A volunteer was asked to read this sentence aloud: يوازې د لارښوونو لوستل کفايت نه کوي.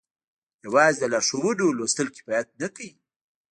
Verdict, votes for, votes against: accepted, 2, 1